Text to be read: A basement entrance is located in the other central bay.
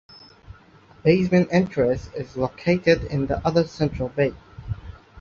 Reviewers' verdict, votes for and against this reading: rejected, 1, 2